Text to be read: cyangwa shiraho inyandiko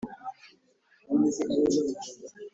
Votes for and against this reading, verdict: 1, 2, rejected